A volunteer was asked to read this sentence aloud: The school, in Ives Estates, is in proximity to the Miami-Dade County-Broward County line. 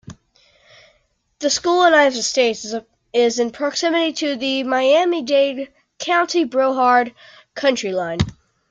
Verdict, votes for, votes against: rejected, 0, 2